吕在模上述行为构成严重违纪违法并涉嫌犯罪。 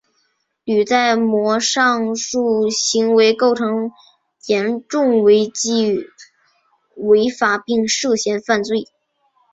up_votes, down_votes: 3, 0